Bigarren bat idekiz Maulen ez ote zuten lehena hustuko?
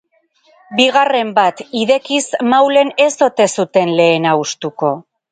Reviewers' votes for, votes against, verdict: 2, 0, accepted